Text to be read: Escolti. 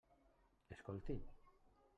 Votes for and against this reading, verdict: 1, 2, rejected